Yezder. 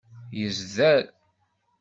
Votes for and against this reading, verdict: 2, 0, accepted